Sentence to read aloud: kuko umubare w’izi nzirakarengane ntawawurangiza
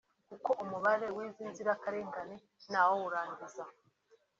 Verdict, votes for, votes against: accepted, 2, 0